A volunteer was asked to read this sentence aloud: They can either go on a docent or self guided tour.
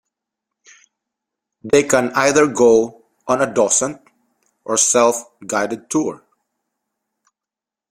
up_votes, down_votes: 2, 0